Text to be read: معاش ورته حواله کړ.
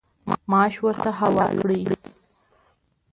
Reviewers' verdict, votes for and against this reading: rejected, 1, 2